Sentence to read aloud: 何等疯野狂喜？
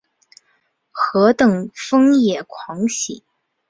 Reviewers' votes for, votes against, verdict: 2, 0, accepted